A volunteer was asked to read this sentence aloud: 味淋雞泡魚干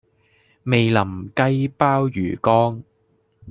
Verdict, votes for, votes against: rejected, 0, 2